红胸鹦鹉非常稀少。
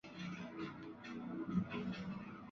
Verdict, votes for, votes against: rejected, 0, 6